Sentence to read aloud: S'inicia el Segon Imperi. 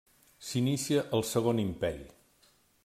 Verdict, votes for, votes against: rejected, 1, 2